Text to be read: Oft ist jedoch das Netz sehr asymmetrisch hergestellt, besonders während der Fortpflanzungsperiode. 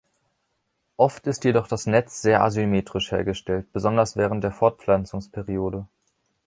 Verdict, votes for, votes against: accepted, 3, 0